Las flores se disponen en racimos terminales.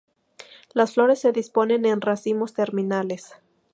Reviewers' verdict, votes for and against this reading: accepted, 4, 0